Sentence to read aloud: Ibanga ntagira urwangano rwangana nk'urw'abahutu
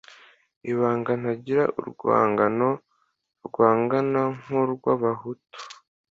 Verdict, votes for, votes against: accepted, 2, 0